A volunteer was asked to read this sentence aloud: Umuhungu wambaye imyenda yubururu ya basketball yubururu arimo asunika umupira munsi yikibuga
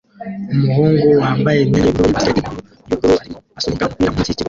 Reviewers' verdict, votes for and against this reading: rejected, 0, 2